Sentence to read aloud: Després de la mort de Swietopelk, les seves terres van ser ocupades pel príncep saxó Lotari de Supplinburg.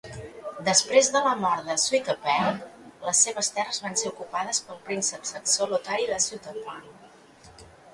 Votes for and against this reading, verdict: 2, 1, accepted